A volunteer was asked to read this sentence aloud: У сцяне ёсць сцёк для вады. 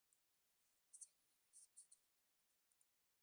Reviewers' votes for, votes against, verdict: 0, 2, rejected